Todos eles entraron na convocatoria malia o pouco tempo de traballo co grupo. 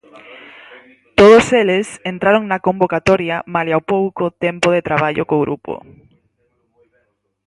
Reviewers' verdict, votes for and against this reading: accepted, 4, 0